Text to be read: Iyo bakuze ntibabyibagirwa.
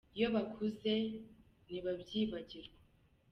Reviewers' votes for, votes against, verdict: 2, 0, accepted